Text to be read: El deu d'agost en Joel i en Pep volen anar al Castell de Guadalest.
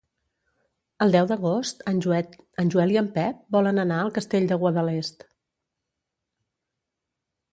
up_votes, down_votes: 0, 2